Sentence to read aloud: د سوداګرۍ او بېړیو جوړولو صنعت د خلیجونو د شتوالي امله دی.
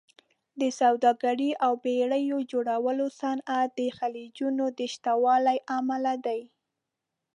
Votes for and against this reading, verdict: 0, 2, rejected